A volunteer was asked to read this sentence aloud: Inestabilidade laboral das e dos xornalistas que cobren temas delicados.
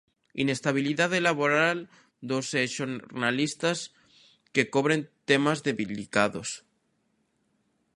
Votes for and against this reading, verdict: 0, 2, rejected